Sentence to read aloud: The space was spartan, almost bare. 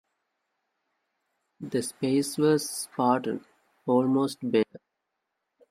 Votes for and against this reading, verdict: 1, 2, rejected